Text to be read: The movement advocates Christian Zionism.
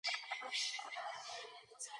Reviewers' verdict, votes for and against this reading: rejected, 0, 2